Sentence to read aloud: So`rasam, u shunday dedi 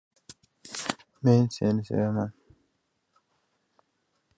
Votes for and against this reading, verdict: 0, 2, rejected